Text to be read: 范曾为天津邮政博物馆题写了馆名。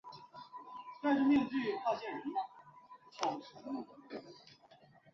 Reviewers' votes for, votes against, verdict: 0, 3, rejected